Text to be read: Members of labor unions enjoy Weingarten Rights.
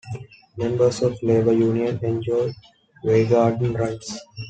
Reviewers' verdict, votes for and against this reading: rejected, 0, 2